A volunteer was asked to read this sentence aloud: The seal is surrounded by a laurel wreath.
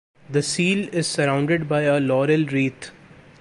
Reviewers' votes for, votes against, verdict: 1, 2, rejected